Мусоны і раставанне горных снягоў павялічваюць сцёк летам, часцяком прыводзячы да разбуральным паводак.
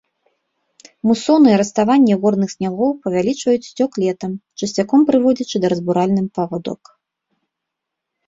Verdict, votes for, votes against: rejected, 0, 2